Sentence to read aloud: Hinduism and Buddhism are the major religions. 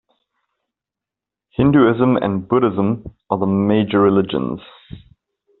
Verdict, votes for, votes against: accepted, 2, 0